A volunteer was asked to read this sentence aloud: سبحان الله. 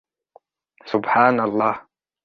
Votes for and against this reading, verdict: 0, 2, rejected